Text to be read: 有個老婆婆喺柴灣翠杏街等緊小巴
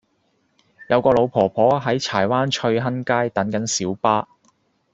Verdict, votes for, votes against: rejected, 0, 2